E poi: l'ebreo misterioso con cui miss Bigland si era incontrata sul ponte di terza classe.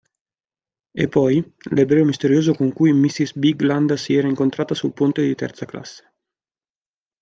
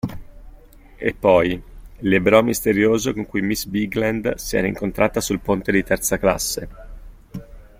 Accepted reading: second